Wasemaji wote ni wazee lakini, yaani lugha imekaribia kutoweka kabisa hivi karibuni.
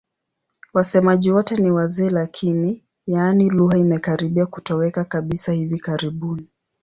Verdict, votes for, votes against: accepted, 9, 1